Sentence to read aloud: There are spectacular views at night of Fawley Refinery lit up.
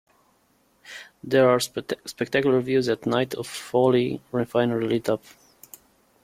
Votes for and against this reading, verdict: 1, 2, rejected